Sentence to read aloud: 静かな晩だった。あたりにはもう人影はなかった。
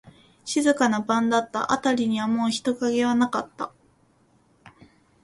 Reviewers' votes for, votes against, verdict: 2, 0, accepted